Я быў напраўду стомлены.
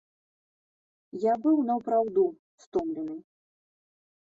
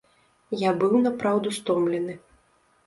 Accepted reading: second